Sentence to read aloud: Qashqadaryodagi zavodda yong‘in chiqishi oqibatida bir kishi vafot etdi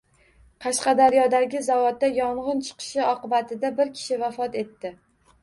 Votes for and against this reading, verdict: 1, 2, rejected